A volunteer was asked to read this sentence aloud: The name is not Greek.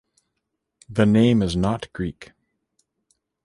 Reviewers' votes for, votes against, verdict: 2, 0, accepted